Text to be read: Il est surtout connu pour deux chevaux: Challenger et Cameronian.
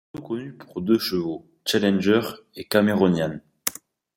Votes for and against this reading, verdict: 1, 2, rejected